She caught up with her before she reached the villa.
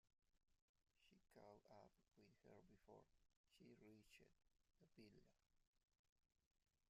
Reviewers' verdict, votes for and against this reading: rejected, 0, 2